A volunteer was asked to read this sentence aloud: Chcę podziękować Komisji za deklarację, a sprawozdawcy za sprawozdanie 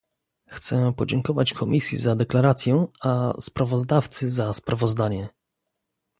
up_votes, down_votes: 2, 0